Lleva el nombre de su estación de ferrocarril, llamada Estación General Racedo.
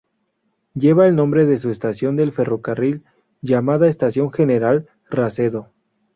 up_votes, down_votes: 0, 4